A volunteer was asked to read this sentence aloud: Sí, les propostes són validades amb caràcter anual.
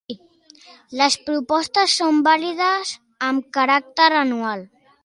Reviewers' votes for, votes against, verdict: 0, 2, rejected